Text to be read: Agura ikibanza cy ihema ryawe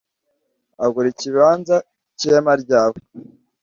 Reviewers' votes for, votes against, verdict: 2, 0, accepted